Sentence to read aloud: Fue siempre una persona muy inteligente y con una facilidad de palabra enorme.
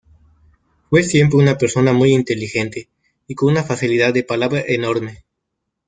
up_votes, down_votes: 2, 0